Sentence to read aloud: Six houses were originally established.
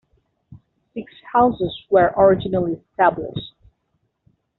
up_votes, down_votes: 2, 0